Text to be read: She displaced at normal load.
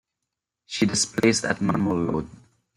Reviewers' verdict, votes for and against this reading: rejected, 1, 2